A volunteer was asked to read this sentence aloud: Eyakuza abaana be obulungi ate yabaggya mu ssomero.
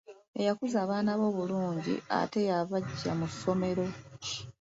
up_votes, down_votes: 2, 1